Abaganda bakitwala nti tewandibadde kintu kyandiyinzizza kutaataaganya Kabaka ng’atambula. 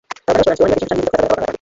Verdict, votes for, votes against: rejected, 0, 2